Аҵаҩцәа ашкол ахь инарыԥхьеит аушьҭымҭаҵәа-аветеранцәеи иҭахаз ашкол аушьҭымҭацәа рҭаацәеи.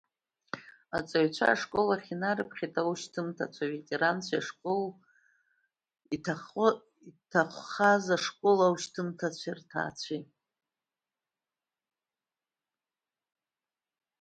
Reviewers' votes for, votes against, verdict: 1, 2, rejected